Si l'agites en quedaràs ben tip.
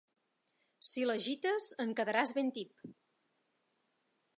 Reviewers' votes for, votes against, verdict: 3, 0, accepted